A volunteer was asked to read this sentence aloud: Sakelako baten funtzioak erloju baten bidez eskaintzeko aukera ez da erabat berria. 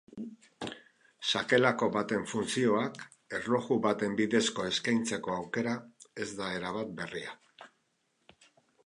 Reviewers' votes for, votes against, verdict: 2, 2, rejected